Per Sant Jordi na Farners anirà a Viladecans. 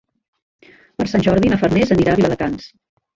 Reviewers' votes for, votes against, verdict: 0, 2, rejected